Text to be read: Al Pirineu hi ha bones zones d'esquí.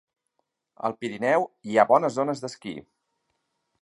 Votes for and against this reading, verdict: 3, 1, accepted